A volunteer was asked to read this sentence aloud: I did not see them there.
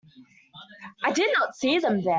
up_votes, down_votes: 2, 0